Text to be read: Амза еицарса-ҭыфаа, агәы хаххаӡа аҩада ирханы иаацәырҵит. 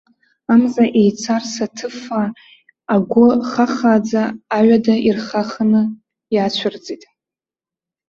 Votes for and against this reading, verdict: 0, 2, rejected